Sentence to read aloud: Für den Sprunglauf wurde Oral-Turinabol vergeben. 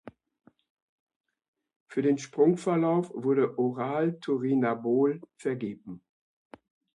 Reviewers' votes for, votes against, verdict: 0, 2, rejected